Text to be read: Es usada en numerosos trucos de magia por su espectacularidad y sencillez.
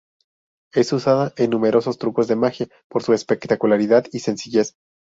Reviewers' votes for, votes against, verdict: 2, 0, accepted